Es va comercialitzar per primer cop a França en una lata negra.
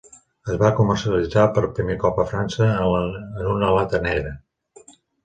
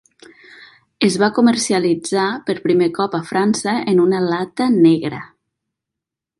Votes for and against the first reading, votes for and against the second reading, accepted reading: 0, 2, 2, 0, second